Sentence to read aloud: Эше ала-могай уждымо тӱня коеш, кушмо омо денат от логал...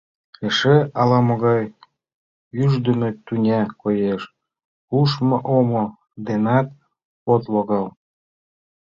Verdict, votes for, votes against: rejected, 0, 2